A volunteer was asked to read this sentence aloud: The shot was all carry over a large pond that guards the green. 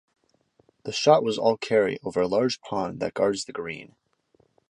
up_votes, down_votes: 2, 0